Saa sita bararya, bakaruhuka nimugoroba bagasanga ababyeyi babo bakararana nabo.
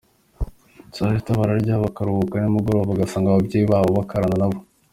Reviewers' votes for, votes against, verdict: 2, 1, accepted